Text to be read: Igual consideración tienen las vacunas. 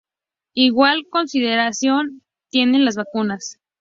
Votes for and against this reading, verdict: 2, 0, accepted